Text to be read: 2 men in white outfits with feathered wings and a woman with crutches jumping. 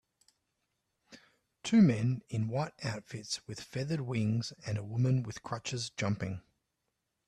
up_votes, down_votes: 0, 2